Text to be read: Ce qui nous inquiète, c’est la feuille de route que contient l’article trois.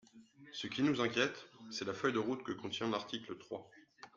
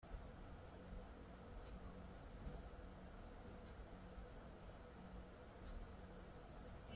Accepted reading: first